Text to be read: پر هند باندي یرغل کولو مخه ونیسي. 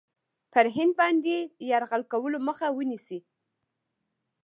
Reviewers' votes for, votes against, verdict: 1, 2, rejected